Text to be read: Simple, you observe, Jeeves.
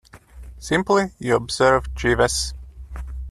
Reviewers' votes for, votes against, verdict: 0, 2, rejected